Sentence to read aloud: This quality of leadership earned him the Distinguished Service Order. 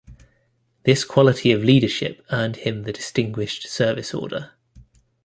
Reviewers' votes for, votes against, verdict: 2, 0, accepted